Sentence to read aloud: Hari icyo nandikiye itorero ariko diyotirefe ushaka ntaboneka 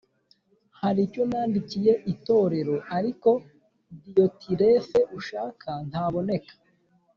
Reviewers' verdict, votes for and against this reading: accepted, 2, 0